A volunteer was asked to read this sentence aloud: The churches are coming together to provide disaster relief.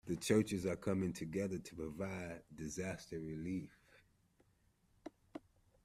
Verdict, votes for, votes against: accepted, 2, 0